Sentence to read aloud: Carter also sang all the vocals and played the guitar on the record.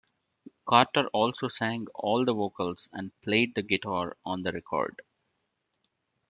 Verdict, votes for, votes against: accepted, 2, 0